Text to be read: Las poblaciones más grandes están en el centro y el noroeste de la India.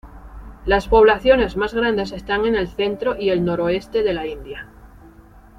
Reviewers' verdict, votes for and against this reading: accepted, 2, 0